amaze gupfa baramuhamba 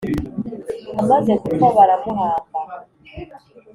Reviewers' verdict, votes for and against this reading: accepted, 3, 0